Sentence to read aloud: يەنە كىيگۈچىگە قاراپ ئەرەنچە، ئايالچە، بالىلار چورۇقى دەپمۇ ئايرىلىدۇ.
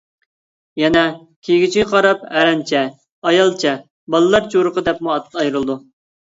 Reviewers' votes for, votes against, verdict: 0, 2, rejected